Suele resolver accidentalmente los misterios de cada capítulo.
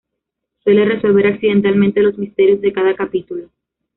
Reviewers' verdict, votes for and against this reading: accepted, 2, 0